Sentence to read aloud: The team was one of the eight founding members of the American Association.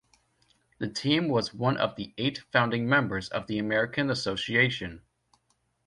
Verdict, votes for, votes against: accepted, 2, 0